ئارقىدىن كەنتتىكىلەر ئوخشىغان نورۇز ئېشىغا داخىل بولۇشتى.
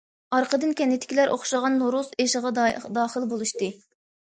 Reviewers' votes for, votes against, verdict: 1, 2, rejected